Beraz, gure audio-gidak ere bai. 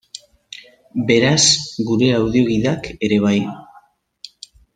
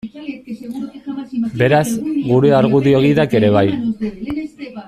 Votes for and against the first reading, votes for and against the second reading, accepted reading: 2, 0, 1, 2, first